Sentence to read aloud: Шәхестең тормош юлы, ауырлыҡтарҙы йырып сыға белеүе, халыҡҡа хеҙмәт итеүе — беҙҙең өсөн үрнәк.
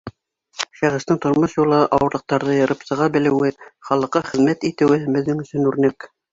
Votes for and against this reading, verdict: 1, 2, rejected